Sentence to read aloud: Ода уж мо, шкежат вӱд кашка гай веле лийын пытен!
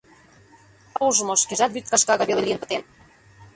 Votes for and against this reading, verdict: 0, 2, rejected